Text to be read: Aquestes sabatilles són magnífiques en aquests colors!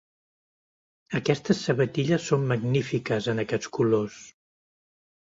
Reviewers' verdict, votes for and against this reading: accepted, 2, 0